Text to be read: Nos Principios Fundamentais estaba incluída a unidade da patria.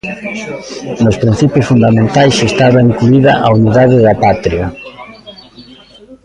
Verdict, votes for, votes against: accepted, 2, 1